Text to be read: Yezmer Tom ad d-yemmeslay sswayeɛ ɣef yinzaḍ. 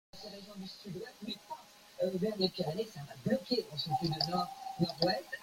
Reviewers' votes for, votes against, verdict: 0, 2, rejected